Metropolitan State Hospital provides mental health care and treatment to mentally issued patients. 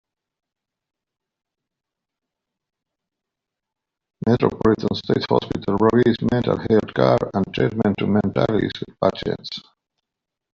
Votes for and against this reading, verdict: 2, 1, accepted